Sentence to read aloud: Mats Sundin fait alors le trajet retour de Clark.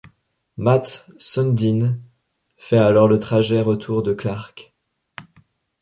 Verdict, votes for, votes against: accepted, 2, 0